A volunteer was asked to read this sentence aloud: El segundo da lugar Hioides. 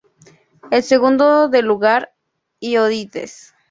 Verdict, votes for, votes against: accepted, 2, 0